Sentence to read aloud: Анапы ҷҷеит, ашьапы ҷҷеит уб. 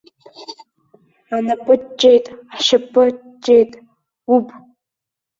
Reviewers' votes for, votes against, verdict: 0, 2, rejected